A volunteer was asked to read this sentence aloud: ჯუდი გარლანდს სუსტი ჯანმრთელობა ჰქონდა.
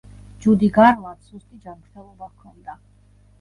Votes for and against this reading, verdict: 1, 2, rejected